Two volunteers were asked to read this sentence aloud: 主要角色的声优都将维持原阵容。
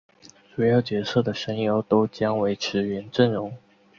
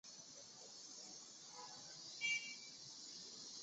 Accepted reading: first